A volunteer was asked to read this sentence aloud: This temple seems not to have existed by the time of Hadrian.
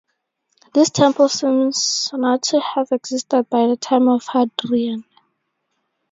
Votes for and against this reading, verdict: 2, 0, accepted